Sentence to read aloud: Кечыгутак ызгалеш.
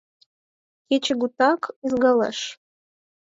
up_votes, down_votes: 4, 0